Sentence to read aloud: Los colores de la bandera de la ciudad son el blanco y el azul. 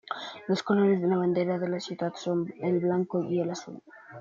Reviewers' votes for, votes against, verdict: 1, 2, rejected